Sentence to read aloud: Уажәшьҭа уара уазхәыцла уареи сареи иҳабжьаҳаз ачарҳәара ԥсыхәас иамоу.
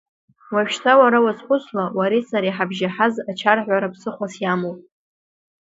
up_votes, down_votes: 0, 2